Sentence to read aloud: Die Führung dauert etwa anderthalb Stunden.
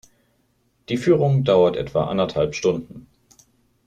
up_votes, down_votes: 2, 0